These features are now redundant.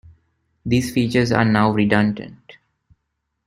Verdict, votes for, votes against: accepted, 2, 0